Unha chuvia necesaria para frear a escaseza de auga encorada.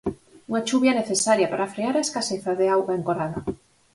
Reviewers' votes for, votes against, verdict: 4, 0, accepted